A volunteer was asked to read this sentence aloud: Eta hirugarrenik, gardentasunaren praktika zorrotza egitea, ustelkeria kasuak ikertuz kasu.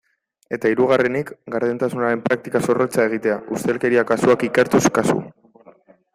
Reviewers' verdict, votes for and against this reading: accepted, 2, 1